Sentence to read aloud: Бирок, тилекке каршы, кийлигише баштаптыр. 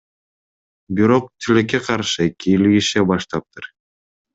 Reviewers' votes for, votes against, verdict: 2, 0, accepted